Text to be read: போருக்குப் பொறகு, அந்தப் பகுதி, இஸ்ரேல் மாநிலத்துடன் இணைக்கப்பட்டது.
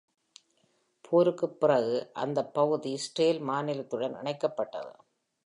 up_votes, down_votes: 0, 2